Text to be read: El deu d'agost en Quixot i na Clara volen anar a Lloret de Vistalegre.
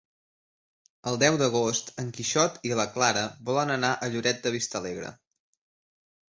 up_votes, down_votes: 0, 2